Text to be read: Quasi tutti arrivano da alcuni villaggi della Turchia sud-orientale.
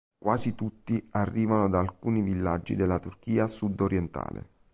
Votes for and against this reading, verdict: 4, 0, accepted